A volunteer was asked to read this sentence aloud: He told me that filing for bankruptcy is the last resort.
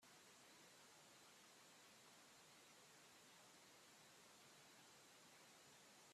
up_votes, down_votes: 0, 2